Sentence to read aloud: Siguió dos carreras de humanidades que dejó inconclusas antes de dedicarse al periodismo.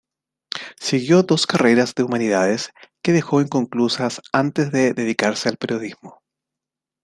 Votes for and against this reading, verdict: 2, 0, accepted